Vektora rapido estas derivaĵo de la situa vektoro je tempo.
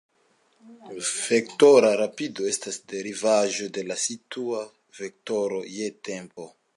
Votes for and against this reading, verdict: 2, 0, accepted